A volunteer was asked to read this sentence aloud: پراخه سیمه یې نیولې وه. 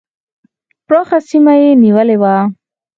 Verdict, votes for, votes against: accepted, 4, 0